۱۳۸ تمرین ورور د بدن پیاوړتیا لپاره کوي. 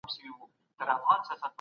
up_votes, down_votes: 0, 2